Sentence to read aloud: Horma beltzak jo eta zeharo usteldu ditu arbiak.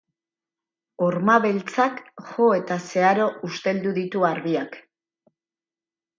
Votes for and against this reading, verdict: 0, 2, rejected